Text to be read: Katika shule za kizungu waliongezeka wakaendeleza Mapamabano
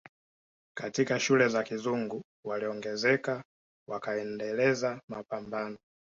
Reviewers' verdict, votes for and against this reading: accepted, 2, 0